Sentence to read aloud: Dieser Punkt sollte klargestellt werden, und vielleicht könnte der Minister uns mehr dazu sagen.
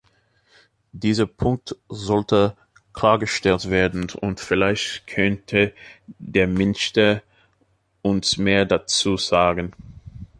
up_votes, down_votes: 0, 2